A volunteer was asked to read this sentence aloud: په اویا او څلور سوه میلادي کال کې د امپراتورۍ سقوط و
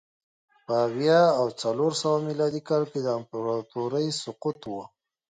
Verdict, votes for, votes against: accepted, 2, 0